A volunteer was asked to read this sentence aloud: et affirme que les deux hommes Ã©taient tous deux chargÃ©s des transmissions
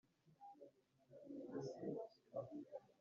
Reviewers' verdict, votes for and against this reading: rejected, 0, 2